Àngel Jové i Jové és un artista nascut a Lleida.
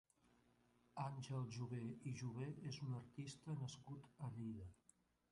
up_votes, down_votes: 1, 2